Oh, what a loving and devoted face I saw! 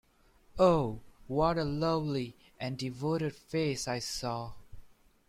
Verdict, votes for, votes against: rejected, 0, 2